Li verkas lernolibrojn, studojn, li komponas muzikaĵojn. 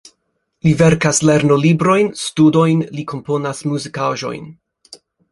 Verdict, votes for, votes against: accepted, 3, 0